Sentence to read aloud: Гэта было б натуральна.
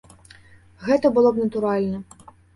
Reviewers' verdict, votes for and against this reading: accepted, 2, 0